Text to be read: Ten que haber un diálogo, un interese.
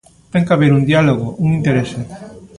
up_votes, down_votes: 1, 2